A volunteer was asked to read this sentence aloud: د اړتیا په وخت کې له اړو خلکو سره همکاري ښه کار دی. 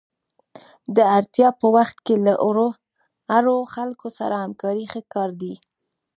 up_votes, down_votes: 1, 2